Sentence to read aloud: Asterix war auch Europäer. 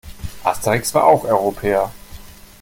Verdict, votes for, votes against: accepted, 2, 0